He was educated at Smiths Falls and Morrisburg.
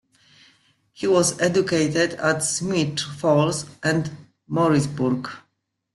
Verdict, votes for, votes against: accepted, 2, 1